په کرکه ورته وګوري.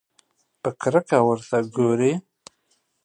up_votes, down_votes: 2, 0